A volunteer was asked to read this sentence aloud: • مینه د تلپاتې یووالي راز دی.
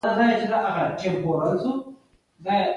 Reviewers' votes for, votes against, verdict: 2, 1, accepted